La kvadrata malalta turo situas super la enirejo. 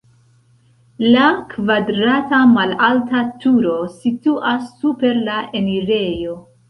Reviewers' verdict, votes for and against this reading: rejected, 0, 2